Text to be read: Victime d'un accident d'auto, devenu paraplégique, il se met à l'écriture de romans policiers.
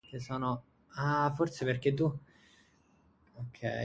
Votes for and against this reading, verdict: 0, 2, rejected